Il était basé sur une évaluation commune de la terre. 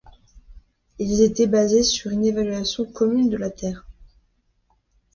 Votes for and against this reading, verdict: 1, 2, rejected